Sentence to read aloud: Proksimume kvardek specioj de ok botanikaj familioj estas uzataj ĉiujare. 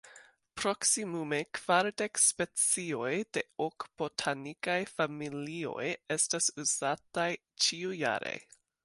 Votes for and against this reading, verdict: 2, 1, accepted